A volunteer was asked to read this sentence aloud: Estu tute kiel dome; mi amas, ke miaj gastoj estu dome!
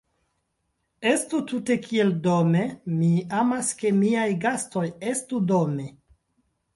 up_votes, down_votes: 1, 2